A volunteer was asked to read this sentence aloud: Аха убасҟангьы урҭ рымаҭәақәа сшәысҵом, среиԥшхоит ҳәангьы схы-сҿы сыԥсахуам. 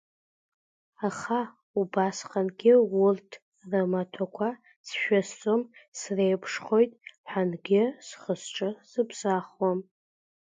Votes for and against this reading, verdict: 0, 2, rejected